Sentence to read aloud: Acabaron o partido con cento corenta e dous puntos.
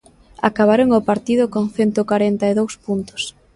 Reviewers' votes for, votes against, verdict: 1, 2, rejected